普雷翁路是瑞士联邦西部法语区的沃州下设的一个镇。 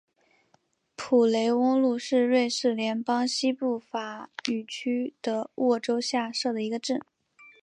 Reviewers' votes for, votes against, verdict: 5, 0, accepted